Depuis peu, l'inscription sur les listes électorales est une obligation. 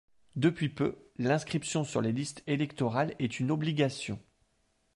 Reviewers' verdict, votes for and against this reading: accepted, 2, 0